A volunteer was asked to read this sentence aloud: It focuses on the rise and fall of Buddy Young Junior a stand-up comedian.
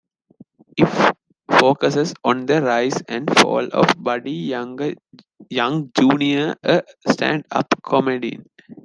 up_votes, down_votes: 1, 2